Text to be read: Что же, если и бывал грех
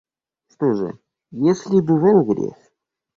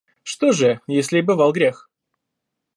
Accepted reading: second